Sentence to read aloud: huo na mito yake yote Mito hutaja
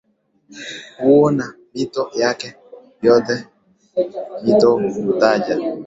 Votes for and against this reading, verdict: 4, 0, accepted